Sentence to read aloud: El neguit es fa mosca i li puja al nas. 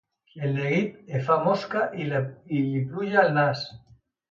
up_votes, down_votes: 1, 2